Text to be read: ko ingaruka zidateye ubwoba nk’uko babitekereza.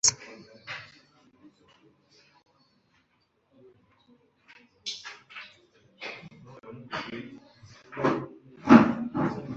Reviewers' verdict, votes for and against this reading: rejected, 2, 3